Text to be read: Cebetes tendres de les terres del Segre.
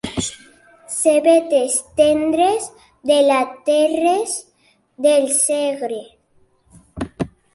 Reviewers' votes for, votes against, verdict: 1, 2, rejected